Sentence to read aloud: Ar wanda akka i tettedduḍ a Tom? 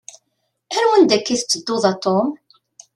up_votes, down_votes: 2, 0